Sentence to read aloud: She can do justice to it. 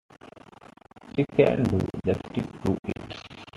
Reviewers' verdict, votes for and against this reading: rejected, 0, 2